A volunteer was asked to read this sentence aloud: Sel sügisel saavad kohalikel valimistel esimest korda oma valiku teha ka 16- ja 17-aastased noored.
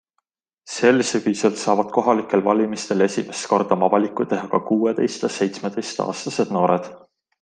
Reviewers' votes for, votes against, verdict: 0, 2, rejected